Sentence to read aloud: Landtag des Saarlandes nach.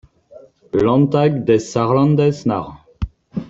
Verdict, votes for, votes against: rejected, 0, 2